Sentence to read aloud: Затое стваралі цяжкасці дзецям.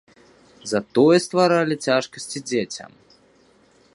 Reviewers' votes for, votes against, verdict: 2, 0, accepted